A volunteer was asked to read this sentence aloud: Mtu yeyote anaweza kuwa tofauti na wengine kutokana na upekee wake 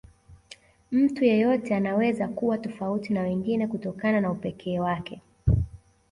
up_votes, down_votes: 2, 0